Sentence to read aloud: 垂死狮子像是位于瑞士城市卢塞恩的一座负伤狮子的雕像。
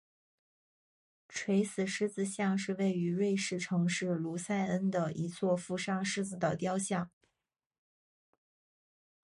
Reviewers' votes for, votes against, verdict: 2, 0, accepted